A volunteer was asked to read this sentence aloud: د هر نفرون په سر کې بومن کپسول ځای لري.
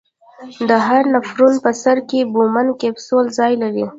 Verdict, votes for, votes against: rejected, 0, 2